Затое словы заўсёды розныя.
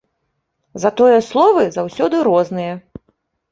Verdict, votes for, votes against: accepted, 2, 0